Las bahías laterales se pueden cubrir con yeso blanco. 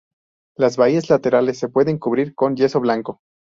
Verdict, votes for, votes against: accepted, 2, 0